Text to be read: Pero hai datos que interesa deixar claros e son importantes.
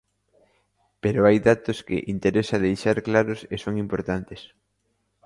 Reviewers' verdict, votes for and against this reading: accepted, 2, 1